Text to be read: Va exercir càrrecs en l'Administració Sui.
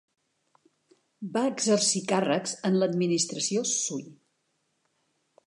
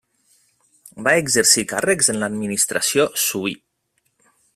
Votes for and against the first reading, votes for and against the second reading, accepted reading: 2, 0, 1, 2, first